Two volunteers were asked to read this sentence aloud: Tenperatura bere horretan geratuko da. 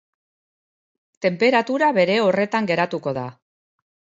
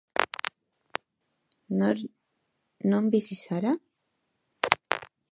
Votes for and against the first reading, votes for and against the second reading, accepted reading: 2, 0, 0, 2, first